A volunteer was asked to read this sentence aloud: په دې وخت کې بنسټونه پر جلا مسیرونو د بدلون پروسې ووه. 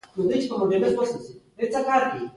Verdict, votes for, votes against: rejected, 1, 2